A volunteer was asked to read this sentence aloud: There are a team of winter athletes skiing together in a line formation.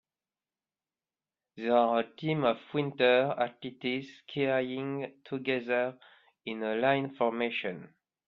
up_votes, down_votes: 0, 2